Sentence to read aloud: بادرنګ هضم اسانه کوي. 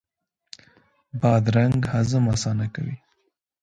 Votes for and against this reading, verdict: 2, 0, accepted